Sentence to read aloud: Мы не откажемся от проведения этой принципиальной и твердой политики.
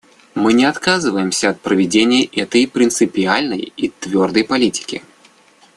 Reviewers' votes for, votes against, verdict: 0, 2, rejected